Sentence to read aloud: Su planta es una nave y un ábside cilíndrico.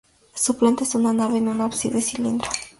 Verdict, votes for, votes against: accepted, 2, 0